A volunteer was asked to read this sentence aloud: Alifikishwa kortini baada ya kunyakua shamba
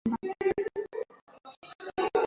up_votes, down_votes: 0, 2